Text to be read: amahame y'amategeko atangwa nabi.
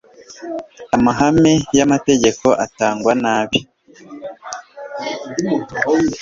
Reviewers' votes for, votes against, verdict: 2, 0, accepted